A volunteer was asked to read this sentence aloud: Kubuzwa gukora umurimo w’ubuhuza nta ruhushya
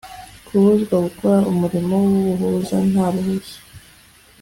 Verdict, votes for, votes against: accepted, 2, 0